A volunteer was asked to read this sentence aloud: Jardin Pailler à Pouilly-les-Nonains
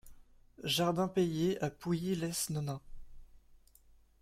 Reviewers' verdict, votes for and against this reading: rejected, 0, 2